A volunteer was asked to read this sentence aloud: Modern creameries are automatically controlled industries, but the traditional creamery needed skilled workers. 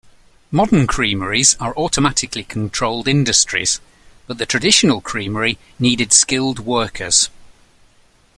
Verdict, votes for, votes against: accepted, 2, 0